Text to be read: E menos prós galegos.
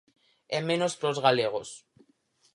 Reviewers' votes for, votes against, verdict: 4, 0, accepted